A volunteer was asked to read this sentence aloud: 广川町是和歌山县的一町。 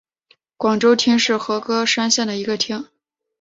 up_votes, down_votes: 3, 0